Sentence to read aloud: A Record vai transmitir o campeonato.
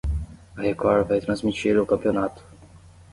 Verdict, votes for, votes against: accepted, 10, 0